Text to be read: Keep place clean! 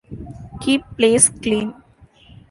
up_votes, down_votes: 2, 0